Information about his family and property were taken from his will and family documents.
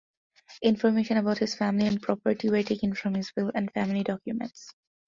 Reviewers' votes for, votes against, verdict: 2, 0, accepted